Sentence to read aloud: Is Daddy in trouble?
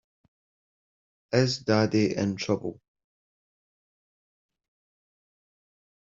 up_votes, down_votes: 3, 0